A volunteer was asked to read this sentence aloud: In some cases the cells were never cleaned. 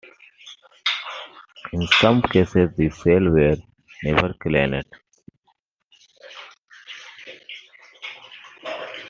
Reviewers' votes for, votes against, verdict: 2, 1, accepted